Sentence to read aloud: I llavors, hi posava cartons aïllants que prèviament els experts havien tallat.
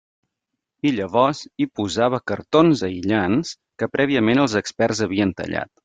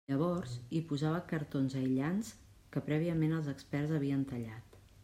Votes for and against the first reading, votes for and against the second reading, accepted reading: 3, 0, 1, 2, first